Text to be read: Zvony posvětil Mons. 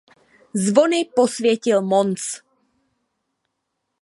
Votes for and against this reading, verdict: 2, 0, accepted